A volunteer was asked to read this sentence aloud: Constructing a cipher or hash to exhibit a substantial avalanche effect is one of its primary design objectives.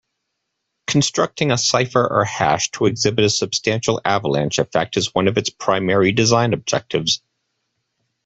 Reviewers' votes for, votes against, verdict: 2, 0, accepted